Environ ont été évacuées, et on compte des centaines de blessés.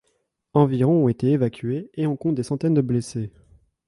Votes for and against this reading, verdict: 2, 0, accepted